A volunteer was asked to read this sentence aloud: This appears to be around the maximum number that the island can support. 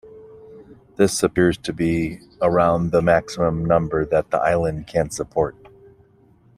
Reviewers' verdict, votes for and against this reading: accepted, 2, 0